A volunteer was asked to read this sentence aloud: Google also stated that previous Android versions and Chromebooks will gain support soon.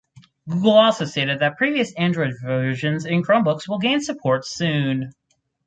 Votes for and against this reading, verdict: 2, 4, rejected